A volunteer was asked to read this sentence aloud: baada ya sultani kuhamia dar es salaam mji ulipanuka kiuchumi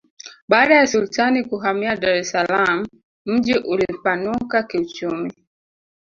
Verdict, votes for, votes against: accepted, 3, 1